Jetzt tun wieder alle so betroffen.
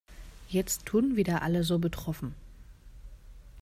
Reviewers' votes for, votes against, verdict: 2, 0, accepted